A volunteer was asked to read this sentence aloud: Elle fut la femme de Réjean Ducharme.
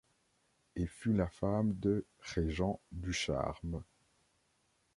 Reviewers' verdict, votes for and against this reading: rejected, 1, 2